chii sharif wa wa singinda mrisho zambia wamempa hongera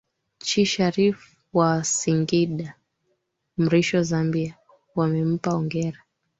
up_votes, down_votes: 1, 3